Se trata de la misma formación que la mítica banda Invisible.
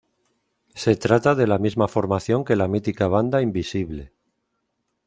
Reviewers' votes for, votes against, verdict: 2, 0, accepted